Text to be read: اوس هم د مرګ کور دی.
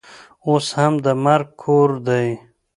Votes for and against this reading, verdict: 2, 0, accepted